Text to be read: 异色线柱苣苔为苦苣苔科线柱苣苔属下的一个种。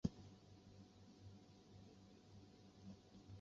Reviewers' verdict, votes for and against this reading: rejected, 1, 2